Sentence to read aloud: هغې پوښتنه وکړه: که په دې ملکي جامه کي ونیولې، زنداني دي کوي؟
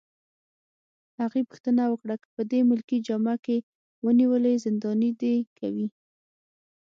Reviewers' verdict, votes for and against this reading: accepted, 6, 0